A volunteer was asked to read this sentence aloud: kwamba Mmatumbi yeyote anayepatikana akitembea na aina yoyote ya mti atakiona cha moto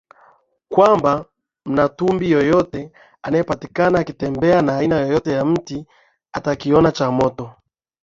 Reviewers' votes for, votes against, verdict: 6, 2, accepted